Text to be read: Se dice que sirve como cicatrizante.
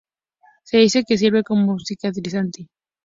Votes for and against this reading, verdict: 2, 0, accepted